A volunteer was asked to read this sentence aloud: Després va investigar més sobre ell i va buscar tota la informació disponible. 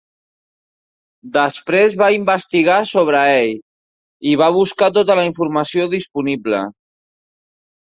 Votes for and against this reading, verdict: 1, 2, rejected